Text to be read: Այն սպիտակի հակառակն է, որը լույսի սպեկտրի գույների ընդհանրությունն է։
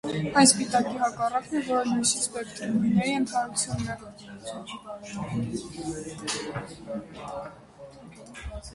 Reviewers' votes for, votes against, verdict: 0, 2, rejected